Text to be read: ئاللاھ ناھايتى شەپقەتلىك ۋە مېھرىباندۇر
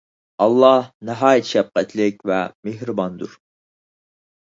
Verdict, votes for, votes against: accepted, 4, 2